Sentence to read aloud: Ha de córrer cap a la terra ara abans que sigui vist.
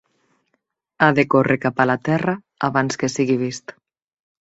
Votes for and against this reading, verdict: 1, 2, rejected